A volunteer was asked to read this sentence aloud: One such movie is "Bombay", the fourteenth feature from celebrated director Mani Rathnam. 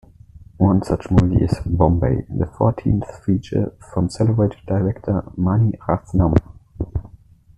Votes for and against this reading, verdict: 1, 2, rejected